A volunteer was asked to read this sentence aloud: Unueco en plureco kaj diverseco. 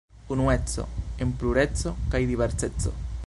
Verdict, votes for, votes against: rejected, 1, 2